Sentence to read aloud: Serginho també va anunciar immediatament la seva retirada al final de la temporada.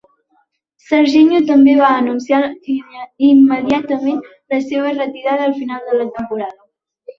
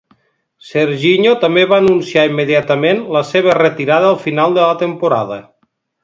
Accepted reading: second